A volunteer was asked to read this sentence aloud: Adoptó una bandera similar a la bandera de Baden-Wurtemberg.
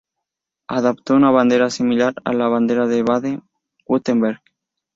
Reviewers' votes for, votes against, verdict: 2, 0, accepted